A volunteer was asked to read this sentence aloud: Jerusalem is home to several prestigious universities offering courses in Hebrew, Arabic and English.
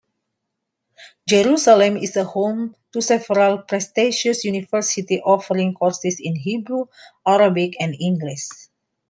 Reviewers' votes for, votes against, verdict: 1, 2, rejected